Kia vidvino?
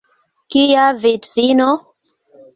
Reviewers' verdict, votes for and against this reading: accepted, 2, 0